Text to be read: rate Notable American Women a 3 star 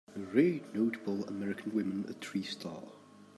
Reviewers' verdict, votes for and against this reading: rejected, 0, 2